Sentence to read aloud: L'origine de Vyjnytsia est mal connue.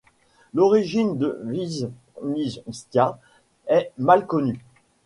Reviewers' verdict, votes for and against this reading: rejected, 1, 2